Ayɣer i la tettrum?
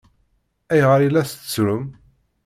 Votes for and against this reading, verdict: 2, 0, accepted